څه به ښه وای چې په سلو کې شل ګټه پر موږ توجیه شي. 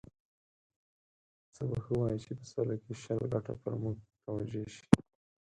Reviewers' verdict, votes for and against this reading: rejected, 2, 4